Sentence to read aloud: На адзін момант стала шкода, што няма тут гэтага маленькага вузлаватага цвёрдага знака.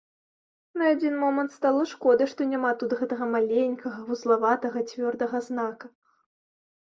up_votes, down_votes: 2, 0